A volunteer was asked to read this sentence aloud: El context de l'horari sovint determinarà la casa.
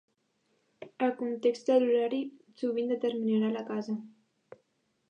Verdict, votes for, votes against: accepted, 3, 0